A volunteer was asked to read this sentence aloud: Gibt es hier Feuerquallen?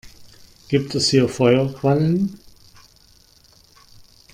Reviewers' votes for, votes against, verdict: 2, 1, accepted